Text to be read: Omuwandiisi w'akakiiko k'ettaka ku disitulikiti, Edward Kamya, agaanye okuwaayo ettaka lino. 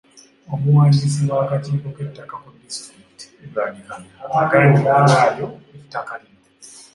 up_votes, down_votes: 2, 3